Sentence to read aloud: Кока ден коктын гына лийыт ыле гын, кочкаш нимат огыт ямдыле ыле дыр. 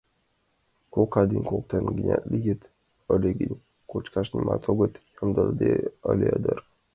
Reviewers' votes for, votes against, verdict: 2, 0, accepted